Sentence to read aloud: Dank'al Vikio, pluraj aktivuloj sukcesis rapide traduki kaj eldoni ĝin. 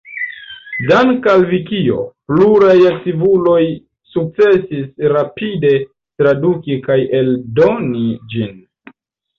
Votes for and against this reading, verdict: 1, 2, rejected